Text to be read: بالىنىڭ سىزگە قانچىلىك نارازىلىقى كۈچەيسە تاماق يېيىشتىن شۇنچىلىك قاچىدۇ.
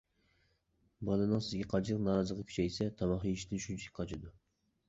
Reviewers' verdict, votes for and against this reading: rejected, 1, 2